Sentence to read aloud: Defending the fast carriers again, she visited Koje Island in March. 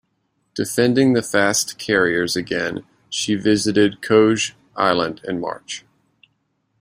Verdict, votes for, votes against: accepted, 2, 1